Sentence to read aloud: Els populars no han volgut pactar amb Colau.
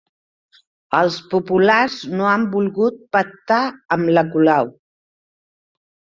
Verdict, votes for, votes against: rejected, 0, 4